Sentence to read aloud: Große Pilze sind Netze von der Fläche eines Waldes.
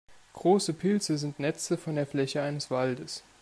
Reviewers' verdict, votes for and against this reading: accepted, 2, 0